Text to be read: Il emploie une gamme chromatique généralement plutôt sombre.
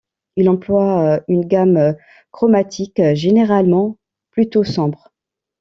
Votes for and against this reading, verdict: 1, 2, rejected